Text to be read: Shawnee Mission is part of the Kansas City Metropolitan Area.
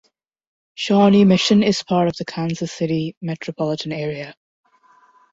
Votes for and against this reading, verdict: 2, 0, accepted